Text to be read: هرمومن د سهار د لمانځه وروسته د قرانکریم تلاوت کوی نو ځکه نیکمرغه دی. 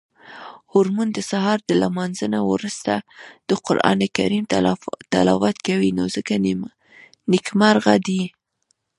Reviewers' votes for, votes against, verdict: 1, 2, rejected